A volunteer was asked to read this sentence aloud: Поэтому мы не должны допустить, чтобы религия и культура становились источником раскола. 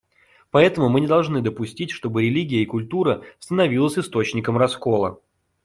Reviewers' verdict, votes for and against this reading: accepted, 2, 0